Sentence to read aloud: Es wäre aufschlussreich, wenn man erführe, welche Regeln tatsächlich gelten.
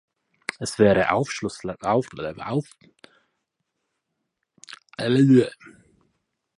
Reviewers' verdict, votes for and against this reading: rejected, 0, 4